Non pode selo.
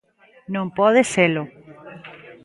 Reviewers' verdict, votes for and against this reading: accepted, 2, 0